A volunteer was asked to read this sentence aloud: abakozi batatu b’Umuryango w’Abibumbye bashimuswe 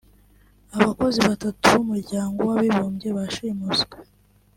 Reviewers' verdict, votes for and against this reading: accepted, 2, 0